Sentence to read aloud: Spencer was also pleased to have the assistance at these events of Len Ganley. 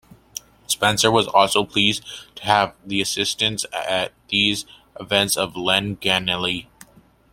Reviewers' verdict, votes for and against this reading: accepted, 2, 0